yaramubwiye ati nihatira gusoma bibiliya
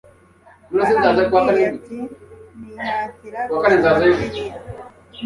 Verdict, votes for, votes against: rejected, 0, 2